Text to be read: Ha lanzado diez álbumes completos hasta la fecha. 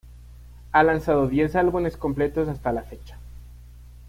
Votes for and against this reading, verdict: 1, 2, rejected